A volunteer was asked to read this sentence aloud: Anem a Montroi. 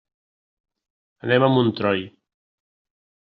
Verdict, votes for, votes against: rejected, 1, 2